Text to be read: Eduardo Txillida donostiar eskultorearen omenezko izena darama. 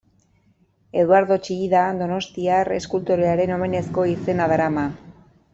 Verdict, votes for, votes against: accepted, 2, 0